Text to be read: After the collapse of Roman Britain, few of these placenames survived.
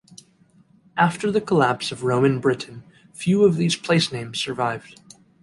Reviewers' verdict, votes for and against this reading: accepted, 3, 1